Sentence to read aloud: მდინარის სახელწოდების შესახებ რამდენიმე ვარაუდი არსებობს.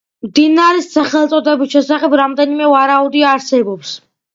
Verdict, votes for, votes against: accepted, 2, 0